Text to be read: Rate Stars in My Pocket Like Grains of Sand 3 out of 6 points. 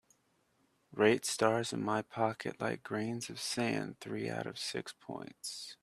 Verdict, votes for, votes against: rejected, 0, 2